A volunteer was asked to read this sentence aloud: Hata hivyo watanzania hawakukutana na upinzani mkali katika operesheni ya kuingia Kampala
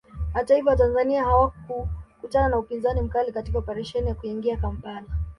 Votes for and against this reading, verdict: 1, 2, rejected